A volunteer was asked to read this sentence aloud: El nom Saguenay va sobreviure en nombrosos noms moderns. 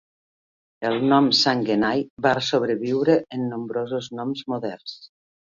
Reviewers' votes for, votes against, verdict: 1, 2, rejected